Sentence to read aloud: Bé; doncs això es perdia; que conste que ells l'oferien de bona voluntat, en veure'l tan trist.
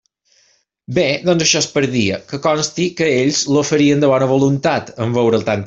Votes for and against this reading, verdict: 1, 2, rejected